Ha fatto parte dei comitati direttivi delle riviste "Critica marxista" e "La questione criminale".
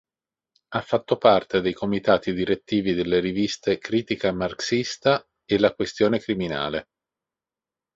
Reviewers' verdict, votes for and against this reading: accepted, 2, 0